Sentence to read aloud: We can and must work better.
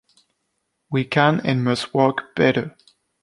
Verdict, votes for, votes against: accepted, 3, 0